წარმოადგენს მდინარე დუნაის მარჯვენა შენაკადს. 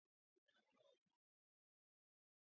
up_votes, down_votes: 0, 2